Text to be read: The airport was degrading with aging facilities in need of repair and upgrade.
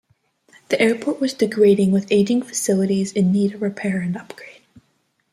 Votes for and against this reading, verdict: 1, 2, rejected